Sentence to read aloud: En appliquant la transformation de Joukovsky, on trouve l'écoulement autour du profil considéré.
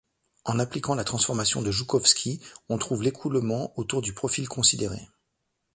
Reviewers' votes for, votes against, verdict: 2, 0, accepted